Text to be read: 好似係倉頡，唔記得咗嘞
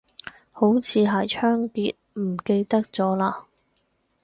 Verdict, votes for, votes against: accepted, 2, 0